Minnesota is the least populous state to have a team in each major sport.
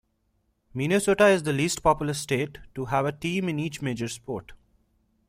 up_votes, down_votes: 2, 0